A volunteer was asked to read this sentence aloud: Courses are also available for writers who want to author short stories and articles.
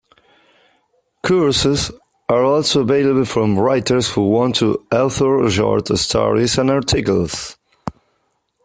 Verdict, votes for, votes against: rejected, 1, 2